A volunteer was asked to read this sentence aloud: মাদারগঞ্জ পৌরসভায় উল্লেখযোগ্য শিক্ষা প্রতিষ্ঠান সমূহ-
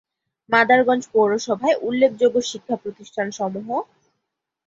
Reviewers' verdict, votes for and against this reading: accepted, 2, 0